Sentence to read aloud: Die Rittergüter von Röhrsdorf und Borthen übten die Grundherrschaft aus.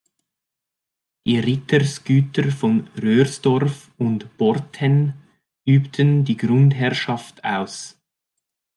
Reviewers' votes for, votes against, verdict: 0, 2, rejected